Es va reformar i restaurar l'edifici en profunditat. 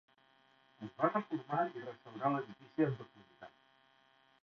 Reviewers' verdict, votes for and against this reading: rejected, 0, 2